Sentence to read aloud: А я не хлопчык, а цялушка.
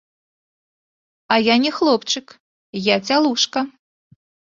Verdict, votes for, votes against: rejected, 1, 2